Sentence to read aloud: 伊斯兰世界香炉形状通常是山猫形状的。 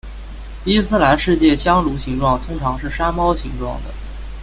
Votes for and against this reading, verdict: 2, 0, accepted